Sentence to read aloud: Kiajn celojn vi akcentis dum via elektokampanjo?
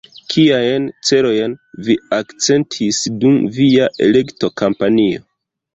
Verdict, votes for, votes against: rejected, 1, 2